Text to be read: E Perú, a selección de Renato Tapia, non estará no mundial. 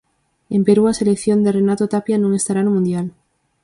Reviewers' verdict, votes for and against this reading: rejected, 2, 4